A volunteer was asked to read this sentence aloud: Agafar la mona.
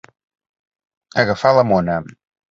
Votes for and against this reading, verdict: 2, 0, accepted